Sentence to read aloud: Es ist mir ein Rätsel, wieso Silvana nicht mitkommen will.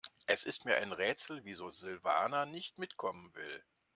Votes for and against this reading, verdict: 2, 0, accepted